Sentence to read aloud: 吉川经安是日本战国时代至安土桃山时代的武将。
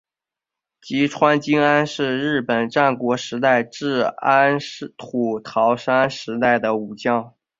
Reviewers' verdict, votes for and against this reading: rejected, 1, 2